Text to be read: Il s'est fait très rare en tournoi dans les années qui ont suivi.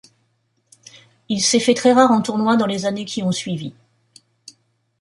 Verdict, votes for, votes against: accepted, 2, 0